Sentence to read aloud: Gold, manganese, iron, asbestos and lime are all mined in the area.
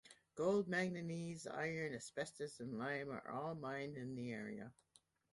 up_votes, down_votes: 0, 2